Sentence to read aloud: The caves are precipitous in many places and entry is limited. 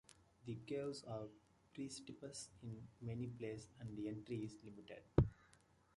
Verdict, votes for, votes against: rejected, 0, 2